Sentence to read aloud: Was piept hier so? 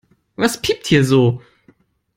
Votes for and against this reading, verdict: 2, 0, accepted